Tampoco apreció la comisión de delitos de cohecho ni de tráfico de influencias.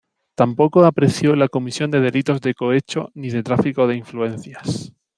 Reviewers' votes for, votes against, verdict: 2, 0, accepted